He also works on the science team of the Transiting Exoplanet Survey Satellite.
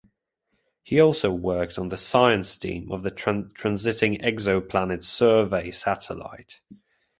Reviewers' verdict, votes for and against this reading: rejected, 0, 2